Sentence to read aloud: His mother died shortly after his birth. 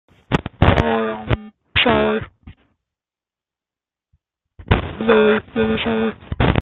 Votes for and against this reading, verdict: 0, 2, rejected